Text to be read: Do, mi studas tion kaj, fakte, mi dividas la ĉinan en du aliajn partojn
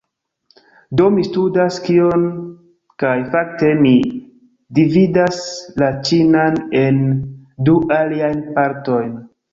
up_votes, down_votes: 1, 2